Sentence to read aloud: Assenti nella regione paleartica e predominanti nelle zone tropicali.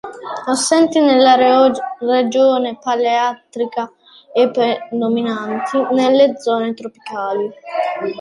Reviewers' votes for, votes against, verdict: 0, 2, rejected